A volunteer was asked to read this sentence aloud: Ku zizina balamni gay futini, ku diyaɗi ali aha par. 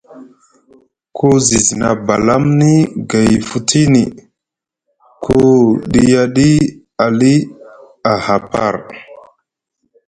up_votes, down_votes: 0, 2